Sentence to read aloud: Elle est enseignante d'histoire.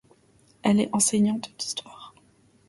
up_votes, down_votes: 1, 2